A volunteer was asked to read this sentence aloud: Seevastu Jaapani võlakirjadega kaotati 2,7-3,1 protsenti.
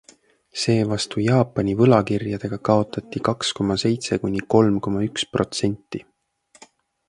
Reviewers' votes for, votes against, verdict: 0, 2, rejected